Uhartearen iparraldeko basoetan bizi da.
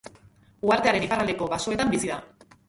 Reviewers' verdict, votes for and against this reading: rejected, 0, 3